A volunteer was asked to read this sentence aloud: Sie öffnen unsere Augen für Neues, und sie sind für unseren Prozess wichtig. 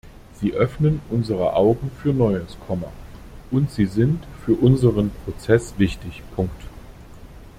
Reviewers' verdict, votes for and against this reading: rejected, 0, 2